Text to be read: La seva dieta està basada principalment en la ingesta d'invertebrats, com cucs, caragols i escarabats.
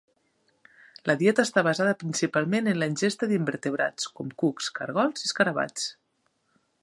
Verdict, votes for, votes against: rejected, 0, 2